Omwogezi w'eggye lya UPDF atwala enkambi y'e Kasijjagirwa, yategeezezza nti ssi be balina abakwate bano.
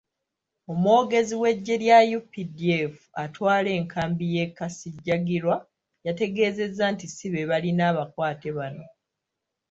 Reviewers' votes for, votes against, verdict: 2, 0, accepted